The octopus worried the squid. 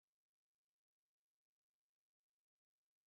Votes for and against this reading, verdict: 0, 2, rejected